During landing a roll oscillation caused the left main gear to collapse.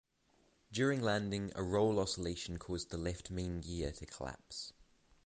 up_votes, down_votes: 0, 3